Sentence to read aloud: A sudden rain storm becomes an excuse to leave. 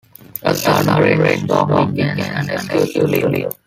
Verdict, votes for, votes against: rejected, 1, 3